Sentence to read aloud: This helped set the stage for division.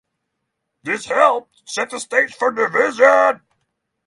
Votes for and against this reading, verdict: 0, 3, rejected